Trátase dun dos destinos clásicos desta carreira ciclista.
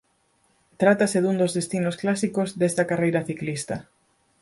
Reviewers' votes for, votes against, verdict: 4, 0, accepted